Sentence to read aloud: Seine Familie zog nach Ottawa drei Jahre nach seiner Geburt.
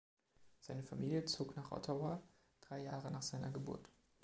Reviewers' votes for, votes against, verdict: 2, 0, accepted